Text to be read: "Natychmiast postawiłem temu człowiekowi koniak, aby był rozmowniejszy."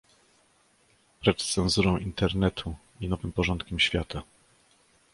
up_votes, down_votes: 0, 2